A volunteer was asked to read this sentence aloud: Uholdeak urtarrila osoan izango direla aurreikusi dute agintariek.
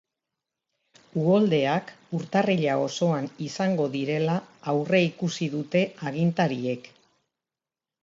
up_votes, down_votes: 2, 1